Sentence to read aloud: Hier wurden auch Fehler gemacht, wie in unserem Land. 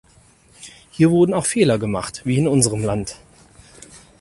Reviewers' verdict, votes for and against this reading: accepted, 4, 0